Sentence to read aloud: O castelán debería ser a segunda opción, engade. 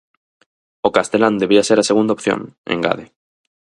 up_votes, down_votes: 0, 4